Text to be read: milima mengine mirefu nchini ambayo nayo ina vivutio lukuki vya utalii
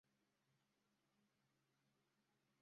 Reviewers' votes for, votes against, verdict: 0, 2, rejected